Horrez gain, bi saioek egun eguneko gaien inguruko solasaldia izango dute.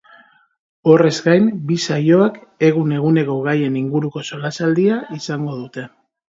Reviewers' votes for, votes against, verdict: 1, 2, rejected